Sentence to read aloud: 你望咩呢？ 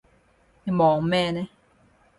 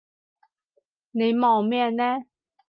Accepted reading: second